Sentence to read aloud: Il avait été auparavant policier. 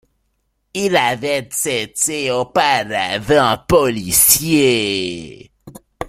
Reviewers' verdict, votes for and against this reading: rejected, 1, 2